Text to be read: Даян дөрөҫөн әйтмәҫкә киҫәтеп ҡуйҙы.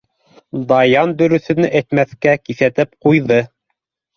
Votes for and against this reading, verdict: 2, 0, accepted